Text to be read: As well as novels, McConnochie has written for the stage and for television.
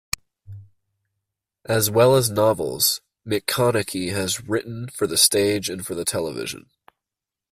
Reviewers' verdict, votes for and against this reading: rejected, 0, 2